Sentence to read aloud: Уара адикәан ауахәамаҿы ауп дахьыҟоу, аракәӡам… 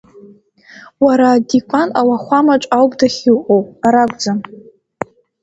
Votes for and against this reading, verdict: 0, 2, rejected